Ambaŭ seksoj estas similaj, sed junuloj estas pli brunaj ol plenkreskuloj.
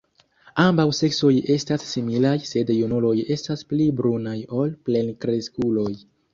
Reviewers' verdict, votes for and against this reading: accepted, 2, 1